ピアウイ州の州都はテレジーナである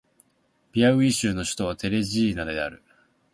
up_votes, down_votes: 6, 1